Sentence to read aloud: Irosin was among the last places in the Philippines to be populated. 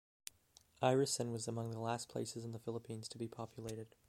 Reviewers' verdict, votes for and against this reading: accepted, 2, 0